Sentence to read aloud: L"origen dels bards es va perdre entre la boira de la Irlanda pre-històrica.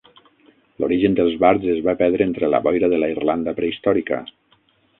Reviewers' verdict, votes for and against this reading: rejected, 3, 6